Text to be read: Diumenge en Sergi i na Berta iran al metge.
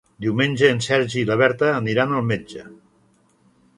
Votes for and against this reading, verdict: 0, 2, rejected